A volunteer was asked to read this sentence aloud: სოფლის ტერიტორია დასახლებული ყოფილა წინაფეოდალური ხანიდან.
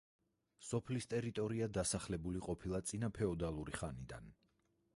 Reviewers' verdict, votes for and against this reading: rejected, 2, 4